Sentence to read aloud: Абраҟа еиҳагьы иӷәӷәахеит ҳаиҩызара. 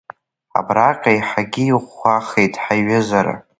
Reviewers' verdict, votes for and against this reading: accepted, 2, 0